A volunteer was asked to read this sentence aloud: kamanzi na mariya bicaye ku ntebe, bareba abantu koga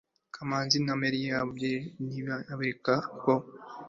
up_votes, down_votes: 1, 2